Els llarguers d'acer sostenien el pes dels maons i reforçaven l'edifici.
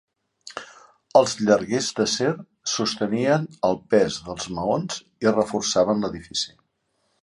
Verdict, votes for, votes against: accepted, 2, 0